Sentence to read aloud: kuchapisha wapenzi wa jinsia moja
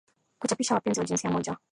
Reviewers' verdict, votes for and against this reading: rejected, 0, 2